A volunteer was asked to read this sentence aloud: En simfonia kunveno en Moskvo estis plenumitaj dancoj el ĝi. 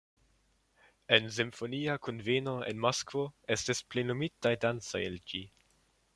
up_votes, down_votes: 2, 0